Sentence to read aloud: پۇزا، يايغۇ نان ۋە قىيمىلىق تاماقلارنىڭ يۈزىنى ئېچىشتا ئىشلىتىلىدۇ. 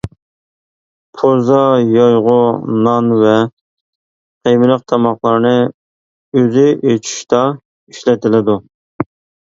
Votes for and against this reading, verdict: 0, 2, rejected